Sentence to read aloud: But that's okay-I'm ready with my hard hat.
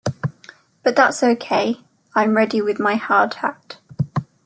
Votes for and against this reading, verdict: 2, 0, accepted